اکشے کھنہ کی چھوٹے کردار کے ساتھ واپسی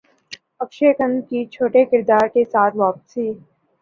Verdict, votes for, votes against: accepted, 2, 0